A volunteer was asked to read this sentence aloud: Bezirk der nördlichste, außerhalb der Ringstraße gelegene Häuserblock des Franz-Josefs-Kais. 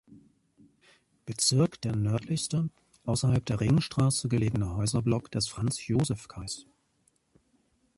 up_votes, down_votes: 2, 0